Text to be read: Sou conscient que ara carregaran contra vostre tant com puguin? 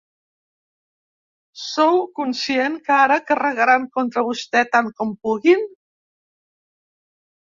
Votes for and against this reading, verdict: 0, 2, rejected